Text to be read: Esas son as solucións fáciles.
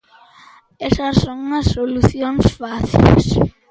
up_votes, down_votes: 1, 2